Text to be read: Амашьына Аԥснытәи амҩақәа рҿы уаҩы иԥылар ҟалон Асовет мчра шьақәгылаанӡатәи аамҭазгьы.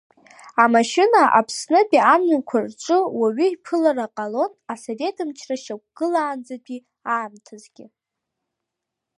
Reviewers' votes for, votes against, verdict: 2, 0, accepted